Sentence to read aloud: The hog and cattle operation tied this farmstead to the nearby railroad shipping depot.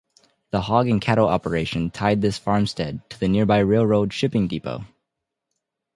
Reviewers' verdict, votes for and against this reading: accepted, 2, 0